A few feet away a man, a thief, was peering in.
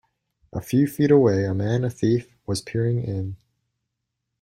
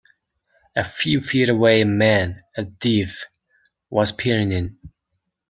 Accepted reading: first